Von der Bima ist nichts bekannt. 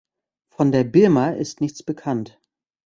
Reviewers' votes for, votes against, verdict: 1, 2, rejected